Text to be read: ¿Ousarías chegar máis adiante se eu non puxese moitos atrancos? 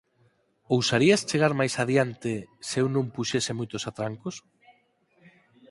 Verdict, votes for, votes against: accepted, 4, 0